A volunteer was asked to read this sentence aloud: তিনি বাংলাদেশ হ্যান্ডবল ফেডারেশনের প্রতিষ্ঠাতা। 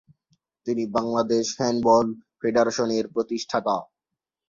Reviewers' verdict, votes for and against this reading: accepted, 3, 0